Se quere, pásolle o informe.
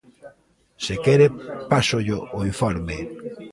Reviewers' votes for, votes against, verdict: 0, 2, rejected